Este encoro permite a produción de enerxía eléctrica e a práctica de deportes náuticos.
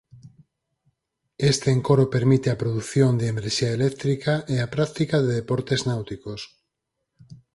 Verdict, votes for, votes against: accepted, 4, 0